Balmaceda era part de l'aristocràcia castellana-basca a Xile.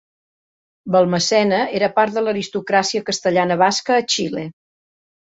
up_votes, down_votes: 0, 2